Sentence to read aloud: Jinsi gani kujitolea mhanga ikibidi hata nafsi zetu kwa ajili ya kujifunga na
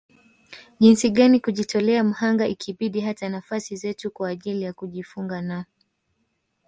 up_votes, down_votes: 1, 2